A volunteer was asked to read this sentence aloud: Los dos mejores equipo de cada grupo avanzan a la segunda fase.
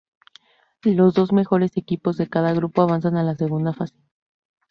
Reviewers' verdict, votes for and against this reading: rejected, 0, 2